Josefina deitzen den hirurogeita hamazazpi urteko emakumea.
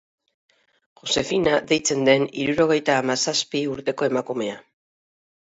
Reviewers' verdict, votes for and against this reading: accepted, 2, 0